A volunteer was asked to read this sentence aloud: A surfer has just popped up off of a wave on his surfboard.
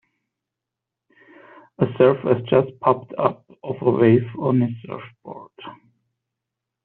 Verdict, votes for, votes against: rejected, 1, 2